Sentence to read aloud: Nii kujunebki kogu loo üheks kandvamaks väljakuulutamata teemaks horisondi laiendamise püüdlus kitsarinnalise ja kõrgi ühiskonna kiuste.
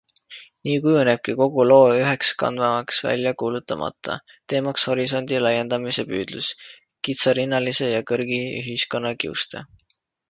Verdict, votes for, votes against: accepted, 2, 0